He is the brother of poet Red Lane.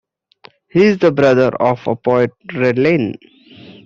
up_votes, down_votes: 2, 1